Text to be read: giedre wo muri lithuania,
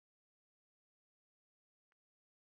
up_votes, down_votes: 0, 2